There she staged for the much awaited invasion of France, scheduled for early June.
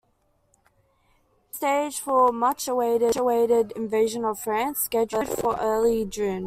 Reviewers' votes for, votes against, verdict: 0, 2, rejected